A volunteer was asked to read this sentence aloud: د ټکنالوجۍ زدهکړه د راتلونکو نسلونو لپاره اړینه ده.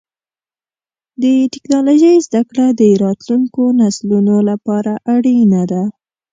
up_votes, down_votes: 3, 0